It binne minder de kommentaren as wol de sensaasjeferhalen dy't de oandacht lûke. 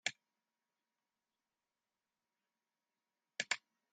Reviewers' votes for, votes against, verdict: 0, 2, rejected